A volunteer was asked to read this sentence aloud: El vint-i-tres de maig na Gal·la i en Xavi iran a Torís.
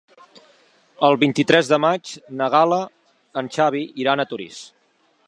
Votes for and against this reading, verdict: 2, 3, rejected